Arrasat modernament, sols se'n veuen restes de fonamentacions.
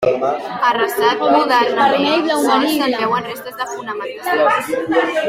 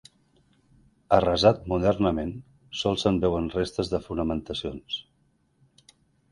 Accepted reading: second